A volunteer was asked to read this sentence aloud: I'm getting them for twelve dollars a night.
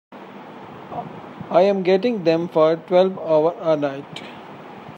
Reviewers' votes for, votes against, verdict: 0, 2, rejected